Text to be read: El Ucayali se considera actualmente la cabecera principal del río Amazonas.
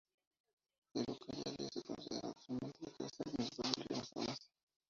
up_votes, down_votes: 0, 2